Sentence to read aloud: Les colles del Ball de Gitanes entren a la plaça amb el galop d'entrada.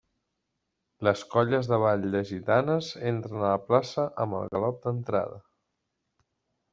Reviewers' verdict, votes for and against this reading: rejected, 1, 2